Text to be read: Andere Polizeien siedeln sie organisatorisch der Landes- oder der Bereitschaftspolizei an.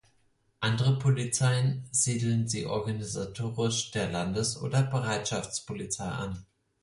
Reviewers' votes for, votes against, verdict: 4, 0, accepted